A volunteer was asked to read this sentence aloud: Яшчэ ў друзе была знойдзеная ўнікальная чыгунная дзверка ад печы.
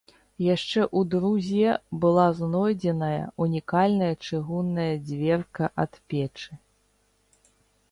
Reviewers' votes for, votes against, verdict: 0, 2, rejected